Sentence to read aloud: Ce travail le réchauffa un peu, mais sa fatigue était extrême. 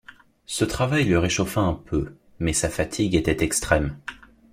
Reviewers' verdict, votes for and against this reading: accepted, 2, 0